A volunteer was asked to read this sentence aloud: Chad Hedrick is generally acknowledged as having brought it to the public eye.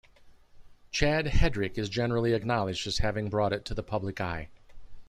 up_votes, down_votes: 2, 0